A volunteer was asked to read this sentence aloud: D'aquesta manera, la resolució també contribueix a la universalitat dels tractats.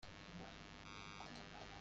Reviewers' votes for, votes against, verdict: 0, 3, rejected